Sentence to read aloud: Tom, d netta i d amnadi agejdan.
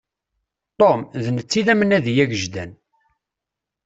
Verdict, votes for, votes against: accepted, 2, 0